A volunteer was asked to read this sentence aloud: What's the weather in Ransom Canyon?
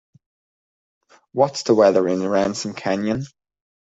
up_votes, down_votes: 2, 0